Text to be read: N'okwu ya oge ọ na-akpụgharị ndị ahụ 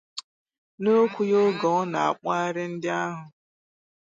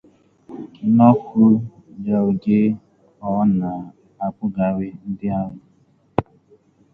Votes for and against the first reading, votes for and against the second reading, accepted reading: 4, 0, 0, 2, first